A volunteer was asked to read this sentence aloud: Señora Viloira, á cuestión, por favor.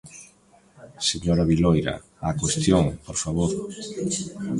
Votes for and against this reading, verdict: 4, 3, accepted